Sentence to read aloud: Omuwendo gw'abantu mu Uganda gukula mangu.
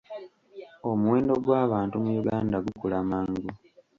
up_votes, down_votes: 2, 0